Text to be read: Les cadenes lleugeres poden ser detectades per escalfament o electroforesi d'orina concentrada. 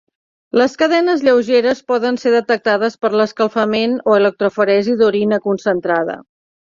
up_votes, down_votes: 2, 1